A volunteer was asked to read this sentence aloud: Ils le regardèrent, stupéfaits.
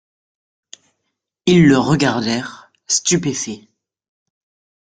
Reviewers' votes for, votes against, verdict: 2, 0, accepted